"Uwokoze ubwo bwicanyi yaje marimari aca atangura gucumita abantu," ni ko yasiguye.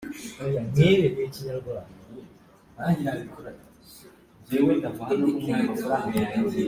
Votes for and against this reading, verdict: 1, 2, rejected